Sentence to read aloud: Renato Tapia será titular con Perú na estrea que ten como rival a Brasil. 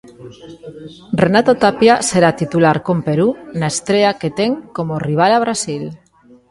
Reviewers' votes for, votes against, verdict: 0, 2, rejected